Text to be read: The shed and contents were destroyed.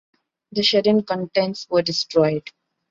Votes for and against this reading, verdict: 2, 0, accepted